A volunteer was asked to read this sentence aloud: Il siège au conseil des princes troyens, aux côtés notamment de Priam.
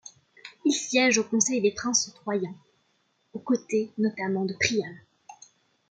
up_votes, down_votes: 2, 0